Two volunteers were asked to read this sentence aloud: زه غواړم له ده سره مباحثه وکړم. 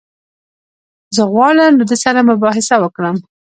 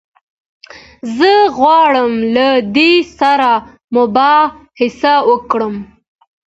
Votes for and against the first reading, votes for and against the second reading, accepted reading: 2, 0, 1, 2, first